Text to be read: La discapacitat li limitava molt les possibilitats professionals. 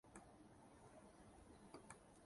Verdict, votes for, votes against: rejected, 1, 2